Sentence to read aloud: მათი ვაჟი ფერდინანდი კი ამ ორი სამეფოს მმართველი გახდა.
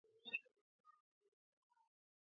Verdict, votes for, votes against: rejected, 0, 2